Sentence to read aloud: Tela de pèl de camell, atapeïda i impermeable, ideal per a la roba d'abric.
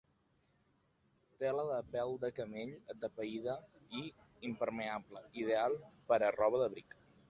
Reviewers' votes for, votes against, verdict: 1, 3, rejected